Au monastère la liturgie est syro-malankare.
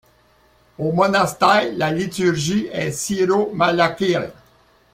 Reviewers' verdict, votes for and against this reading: accepted, 2, 0